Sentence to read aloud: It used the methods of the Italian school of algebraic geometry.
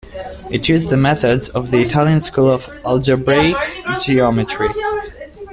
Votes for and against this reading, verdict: 1, 2, rejected